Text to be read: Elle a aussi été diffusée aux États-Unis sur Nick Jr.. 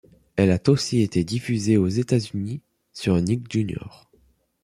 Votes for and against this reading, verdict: 1, 2, rejected